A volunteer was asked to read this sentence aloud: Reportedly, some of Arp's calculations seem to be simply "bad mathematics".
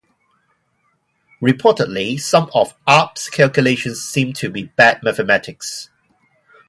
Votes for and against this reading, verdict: 0, 2, rejected